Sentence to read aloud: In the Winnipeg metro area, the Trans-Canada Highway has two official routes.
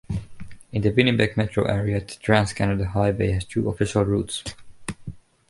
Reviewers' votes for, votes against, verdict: 2, 0, accepted